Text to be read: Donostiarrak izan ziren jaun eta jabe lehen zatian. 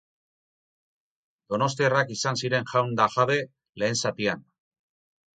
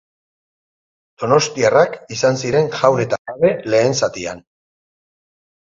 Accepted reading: second